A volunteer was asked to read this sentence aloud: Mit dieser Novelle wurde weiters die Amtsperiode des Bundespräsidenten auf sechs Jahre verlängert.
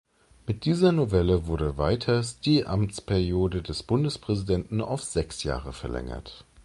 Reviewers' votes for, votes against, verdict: 2, 0, accepted